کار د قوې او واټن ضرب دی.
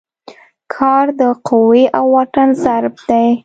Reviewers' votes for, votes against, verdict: 2, 0, accepted